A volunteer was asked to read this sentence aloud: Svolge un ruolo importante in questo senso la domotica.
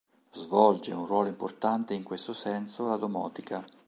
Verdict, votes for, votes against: accepted, 2, 0